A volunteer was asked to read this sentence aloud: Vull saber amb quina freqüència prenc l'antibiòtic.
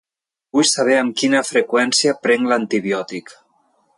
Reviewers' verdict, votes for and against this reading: accepted, 2, 0